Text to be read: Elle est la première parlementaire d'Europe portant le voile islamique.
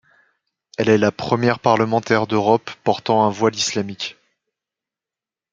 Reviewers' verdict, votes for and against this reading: accepted, 2, 0